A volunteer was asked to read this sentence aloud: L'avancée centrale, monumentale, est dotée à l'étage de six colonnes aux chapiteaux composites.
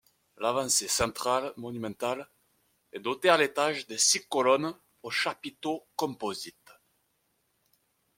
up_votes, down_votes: 2, 0